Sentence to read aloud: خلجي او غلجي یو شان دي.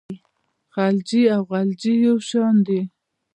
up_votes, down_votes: 2, 0